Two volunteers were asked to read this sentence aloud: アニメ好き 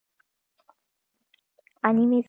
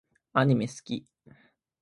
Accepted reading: second